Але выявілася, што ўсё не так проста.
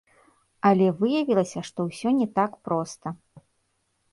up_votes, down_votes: 1, 2